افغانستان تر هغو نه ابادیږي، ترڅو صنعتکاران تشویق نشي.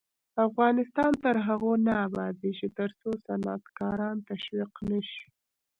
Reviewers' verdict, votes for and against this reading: rejected, 0, 2